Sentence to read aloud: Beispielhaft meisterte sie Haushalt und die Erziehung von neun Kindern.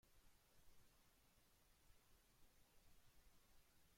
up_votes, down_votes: 0, 2